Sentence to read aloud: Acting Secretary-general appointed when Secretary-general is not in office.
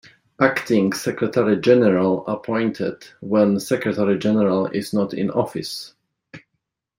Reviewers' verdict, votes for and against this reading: accepted, 2, 1